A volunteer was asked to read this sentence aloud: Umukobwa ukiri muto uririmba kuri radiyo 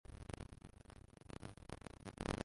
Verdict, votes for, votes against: rejected, 0, 2